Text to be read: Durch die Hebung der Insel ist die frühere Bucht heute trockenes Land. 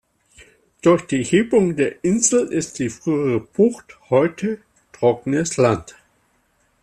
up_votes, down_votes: 2, 0